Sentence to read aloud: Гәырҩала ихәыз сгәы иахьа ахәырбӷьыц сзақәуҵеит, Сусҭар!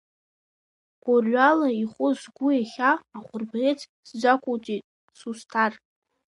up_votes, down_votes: 0, 2